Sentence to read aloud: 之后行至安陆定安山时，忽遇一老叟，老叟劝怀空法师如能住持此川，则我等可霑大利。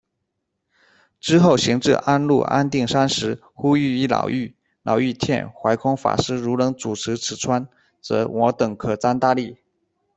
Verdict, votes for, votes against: rejected, 0, 2